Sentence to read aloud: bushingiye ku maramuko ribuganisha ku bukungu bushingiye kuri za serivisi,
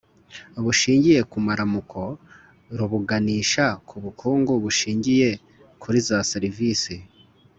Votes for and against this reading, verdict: 2, 0, accepted